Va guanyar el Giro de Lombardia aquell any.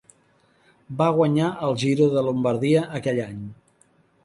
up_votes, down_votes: 5, 0